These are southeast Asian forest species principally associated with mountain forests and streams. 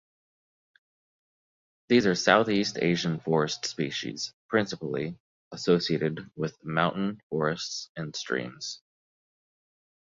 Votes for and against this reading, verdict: 2, 1, accepted